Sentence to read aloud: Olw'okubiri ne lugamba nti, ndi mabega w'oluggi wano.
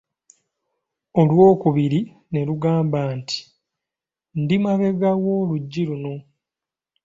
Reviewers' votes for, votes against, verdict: 1, 2, rejected